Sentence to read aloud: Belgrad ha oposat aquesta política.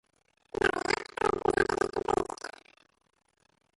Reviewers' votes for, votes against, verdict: 0, 2, rejected